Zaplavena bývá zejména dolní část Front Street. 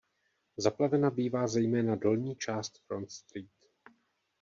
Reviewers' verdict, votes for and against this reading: rejected, 1, 2